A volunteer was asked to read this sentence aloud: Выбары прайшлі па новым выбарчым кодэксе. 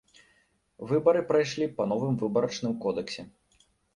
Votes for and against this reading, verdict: 0, 2, rejected